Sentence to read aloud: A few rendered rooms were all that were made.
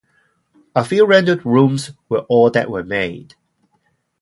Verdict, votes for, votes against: accepted, 2, 0